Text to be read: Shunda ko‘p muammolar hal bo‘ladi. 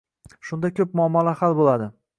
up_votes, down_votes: 0, 2